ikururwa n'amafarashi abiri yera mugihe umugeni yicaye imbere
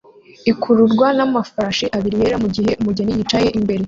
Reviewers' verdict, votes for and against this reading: rejected, 1, 2